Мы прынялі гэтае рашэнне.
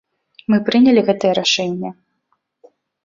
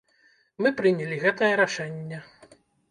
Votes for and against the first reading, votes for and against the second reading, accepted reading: 2, 0, 1, 2, first